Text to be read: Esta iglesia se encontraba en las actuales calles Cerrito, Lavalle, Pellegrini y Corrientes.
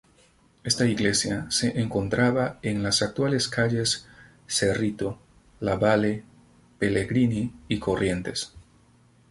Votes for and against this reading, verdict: 2, 2, rejected